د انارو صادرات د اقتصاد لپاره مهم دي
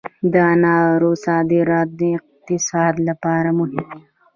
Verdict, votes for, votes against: rejected, 1, 3